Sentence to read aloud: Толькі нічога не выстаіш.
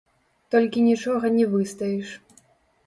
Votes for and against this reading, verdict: 1, 2, rejected